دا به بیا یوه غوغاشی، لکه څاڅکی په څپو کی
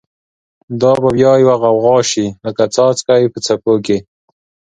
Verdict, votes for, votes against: accepted, 2, 0